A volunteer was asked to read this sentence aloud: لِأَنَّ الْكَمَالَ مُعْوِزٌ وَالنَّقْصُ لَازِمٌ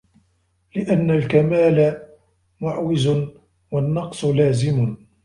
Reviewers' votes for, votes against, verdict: 1, 2, rejected